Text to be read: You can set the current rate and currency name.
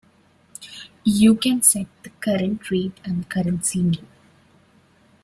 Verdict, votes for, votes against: rejected, 0, 2